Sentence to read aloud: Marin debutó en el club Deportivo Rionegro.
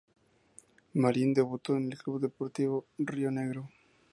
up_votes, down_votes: 4, 0